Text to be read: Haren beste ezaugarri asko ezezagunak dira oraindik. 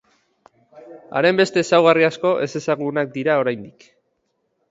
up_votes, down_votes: 2, 0